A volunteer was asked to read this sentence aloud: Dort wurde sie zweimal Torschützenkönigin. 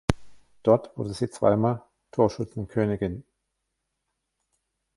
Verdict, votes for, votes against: rejected, 1, 2